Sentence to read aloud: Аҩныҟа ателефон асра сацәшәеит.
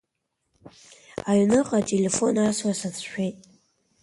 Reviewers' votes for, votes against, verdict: 2, 0, accepted